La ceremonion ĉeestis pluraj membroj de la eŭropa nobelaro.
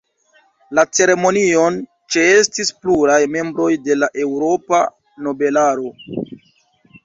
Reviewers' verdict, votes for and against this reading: accepted, 2, 0